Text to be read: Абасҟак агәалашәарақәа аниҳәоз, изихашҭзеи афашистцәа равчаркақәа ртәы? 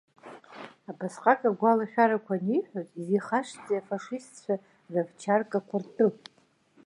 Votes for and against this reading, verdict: 2, 0, accepted